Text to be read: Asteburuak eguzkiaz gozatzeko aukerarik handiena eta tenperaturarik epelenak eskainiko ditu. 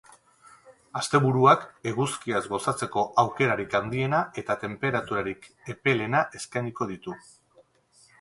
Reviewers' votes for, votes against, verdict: 4, 2, accepted